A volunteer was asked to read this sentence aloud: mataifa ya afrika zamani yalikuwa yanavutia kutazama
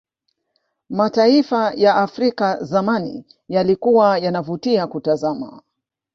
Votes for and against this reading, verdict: 0, 2, rejected